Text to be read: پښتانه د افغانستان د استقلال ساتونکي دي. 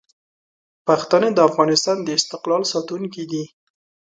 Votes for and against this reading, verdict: 2, 0, accepted